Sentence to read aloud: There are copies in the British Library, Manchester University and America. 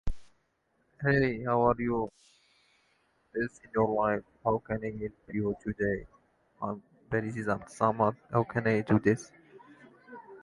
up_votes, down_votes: 0, 2